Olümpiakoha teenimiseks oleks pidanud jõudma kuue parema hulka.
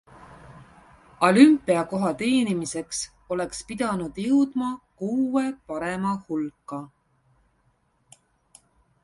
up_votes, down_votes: 0, 2